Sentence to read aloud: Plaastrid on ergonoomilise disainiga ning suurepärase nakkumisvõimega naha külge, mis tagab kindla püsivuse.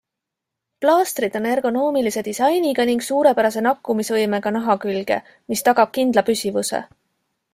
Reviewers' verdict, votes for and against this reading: accepted, 2, 0